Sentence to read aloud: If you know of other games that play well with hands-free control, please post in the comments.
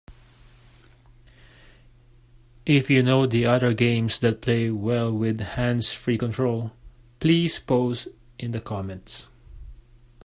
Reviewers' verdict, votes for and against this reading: rejected, 1, 2